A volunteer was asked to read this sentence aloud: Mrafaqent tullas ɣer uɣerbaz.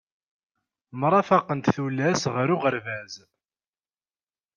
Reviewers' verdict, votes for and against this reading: accepted, 2, 0